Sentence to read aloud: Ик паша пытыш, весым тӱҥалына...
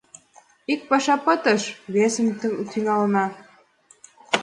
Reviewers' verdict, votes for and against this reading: accepted, 2, 0